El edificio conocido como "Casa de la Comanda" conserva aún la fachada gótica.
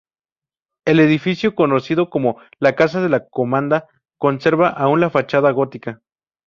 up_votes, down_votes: 2, 0